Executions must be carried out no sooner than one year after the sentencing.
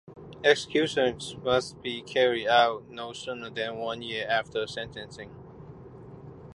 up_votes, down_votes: 1, 2